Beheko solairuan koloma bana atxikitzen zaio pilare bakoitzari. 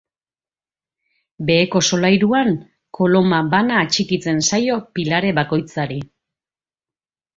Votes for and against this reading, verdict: 2, 1, accepted